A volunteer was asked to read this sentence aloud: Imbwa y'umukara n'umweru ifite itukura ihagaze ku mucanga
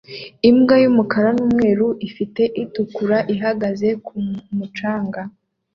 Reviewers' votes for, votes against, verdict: 2, 0, accepted